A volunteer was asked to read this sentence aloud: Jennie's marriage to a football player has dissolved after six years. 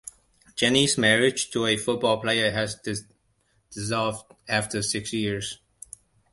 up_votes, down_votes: 2, 1